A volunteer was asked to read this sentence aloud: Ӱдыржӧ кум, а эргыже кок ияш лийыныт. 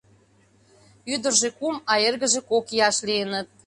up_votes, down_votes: 2, 0